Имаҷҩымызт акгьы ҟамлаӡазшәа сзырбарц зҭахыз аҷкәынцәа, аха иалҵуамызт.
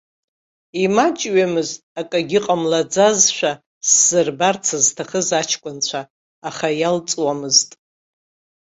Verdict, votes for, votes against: accepted, 2, 0